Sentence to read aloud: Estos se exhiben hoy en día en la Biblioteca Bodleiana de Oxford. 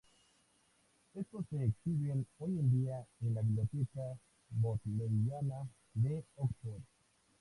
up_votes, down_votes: 2, 0